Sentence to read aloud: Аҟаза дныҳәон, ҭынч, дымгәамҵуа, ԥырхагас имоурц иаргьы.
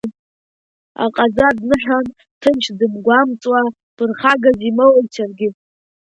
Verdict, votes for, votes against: rejected, 0, 2